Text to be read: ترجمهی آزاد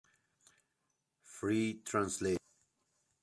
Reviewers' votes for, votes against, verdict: 0, 2, rejected